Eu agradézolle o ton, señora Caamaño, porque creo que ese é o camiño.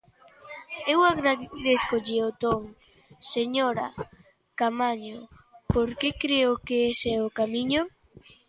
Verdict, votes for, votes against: rejected, 0, 2